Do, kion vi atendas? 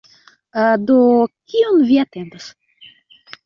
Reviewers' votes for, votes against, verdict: 1, 2, rejected